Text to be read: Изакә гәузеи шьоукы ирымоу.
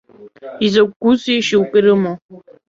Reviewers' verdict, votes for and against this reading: rejected, 0, 2